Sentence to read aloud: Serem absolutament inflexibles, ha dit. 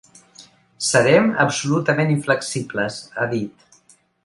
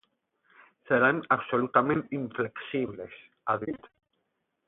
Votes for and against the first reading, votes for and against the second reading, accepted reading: 3, 0, 4, 8, first